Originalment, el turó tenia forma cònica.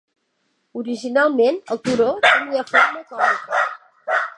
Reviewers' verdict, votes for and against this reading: accepted, 2, 0